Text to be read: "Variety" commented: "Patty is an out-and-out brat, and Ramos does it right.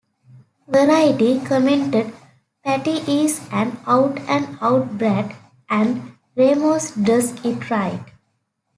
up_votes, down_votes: 2, 1